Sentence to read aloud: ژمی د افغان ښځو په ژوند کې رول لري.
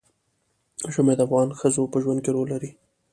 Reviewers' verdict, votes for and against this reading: accepted, 2, 0